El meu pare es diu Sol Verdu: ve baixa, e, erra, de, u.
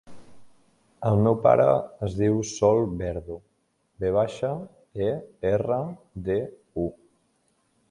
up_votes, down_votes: 3, 0